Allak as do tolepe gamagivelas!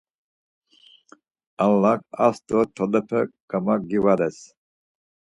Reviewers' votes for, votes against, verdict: 2, 4, rejected